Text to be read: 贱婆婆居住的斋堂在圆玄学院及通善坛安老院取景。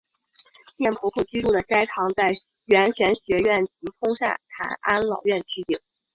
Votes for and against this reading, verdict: 2, 0, accepted